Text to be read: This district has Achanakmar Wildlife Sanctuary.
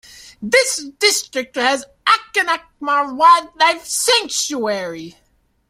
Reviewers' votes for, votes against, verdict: 2, 0, accepted